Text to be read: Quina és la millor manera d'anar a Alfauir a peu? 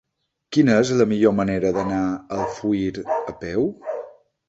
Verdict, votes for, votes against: rejected, 0, 2